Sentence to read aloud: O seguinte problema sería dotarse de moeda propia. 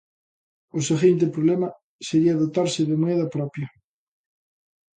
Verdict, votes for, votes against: accepted, 2, 0